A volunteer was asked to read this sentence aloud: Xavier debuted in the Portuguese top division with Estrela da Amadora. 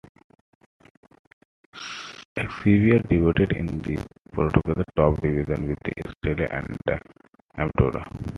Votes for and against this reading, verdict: 2, 1, accepted